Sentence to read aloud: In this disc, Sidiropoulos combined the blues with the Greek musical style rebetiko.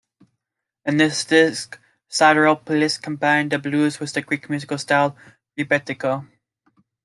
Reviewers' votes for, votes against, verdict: 2, 0, accepted